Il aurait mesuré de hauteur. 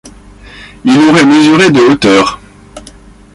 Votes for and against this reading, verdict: 0, 2, rejected